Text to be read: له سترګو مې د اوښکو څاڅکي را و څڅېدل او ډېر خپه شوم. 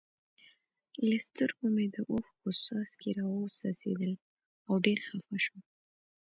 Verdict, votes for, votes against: accepted, 2, 0